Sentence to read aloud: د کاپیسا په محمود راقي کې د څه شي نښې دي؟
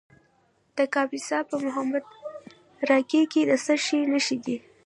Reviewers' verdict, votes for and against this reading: accepted, 2, 0